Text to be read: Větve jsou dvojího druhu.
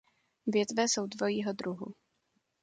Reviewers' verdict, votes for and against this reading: accepted, 2, 0